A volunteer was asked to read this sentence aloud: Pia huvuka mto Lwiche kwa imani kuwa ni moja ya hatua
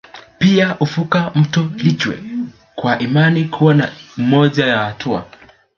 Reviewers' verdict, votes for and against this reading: accepted, 2, 1